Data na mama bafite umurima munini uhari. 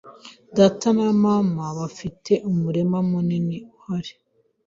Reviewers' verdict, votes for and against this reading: accepted, 2, 0